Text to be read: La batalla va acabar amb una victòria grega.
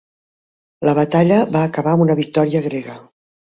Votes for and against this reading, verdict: 3, 0, accepted